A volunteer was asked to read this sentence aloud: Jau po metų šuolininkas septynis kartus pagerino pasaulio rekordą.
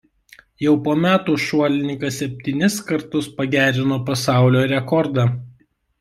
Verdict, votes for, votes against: rejected, 1, 2